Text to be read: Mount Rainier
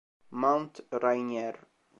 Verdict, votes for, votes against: accepted, 2, 0